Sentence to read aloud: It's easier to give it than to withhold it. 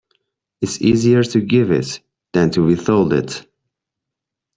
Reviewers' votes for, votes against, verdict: 1, 2, rejected